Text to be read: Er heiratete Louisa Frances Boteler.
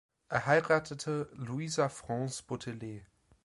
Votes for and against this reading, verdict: 2, 1, accepted